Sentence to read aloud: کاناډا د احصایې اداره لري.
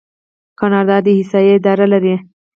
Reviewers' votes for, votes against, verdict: 0, 4, rejected